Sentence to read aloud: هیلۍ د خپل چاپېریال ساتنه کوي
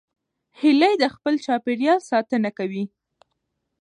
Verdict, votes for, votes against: rejected, 1, 2